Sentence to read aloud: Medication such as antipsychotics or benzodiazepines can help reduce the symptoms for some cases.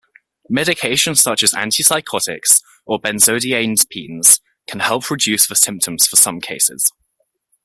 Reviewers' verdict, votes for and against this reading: rejected, 1, 2